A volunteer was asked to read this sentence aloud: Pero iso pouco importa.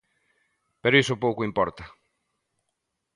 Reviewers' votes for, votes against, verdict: 2, 0, accepted